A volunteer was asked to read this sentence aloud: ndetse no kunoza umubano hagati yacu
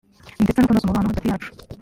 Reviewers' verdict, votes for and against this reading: rejected, 1, 2